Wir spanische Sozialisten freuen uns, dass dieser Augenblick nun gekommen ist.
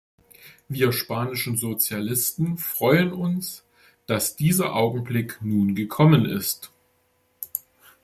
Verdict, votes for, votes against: accepted, 2, 1